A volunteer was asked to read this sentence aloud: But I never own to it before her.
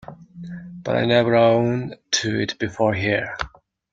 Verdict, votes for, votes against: rejected, 1, 2